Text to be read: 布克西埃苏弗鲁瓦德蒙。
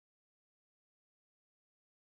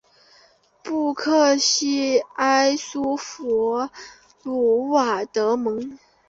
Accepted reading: second